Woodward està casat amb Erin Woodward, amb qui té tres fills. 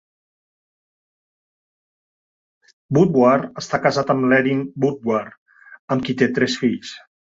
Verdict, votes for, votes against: rejected, 2, 3